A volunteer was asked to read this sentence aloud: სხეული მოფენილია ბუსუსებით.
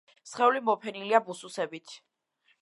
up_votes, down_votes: 2, 0